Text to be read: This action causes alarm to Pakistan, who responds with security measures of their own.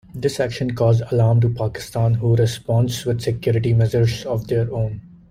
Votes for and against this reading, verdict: 1, 2, rejected